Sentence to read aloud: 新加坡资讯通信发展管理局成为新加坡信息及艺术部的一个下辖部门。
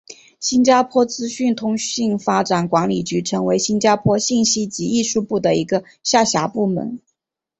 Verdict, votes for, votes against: accepted, 5, 0